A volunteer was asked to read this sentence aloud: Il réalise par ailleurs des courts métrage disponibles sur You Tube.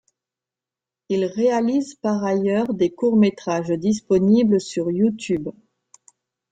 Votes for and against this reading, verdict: 2, 0, accepted